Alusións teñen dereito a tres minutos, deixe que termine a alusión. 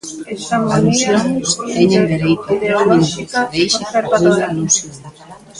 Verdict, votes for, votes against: rejected, 0, 2